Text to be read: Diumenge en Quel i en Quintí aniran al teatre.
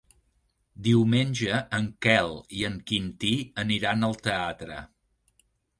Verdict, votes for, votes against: rejected, 1, 2